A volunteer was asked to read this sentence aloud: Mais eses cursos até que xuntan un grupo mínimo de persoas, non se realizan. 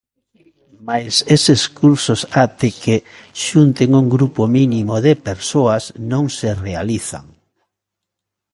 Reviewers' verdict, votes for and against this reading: rejected, 1, 2